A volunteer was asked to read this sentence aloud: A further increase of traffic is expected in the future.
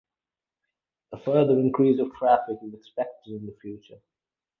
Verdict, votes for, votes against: rejected, 0, 2